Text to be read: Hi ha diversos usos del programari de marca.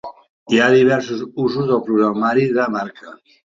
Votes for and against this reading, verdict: 3, 0, accepted